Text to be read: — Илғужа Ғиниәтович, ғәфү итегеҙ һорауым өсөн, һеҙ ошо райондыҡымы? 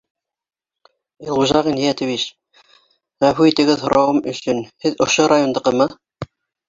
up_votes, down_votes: 1, 2